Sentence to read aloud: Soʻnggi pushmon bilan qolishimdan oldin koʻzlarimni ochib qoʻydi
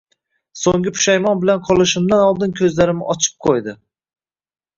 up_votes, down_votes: 2, 0